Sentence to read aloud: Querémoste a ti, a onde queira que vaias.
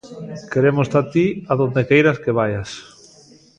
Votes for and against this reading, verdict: 1, 2, rejected